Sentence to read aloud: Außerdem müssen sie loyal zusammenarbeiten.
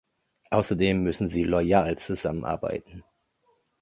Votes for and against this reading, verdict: 2, 0, accepted